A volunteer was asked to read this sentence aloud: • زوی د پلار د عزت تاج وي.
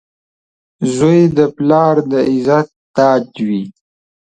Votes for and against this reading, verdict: 2, 0, accepted